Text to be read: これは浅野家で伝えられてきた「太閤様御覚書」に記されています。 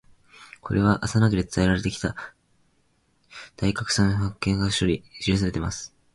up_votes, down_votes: 2, 2